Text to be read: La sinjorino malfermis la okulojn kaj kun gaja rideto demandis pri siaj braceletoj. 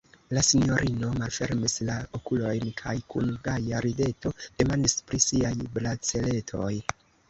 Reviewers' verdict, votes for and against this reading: rejected, 1, 2